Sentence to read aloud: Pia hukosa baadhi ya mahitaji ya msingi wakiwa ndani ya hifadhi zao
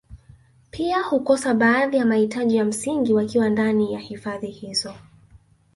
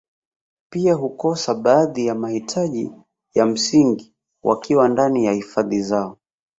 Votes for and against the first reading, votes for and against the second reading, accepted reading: 1, 2, 2, 0, second